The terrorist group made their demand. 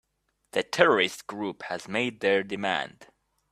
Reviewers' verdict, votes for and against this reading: rejected, 2, 4